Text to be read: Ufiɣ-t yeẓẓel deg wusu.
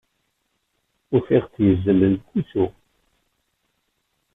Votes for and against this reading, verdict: 1, 2, rejected